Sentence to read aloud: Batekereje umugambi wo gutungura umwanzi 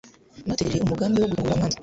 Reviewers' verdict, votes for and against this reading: rejected, 1, 2